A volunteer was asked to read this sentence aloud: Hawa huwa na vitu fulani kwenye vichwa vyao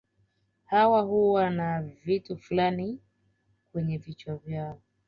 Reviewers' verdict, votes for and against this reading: accepted, 2, 0